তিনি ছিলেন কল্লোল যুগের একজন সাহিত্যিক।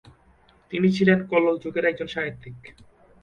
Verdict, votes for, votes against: accepted, 2, 0